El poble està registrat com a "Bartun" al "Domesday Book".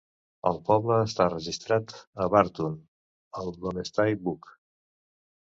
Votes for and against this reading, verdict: 0, 2, rejected